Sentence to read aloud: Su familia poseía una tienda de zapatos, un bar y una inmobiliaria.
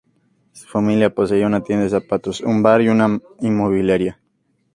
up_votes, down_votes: 2, 0